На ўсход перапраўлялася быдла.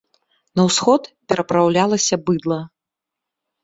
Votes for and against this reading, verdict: 2, 0, accepted